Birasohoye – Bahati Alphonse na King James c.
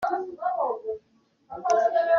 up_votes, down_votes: 0, 2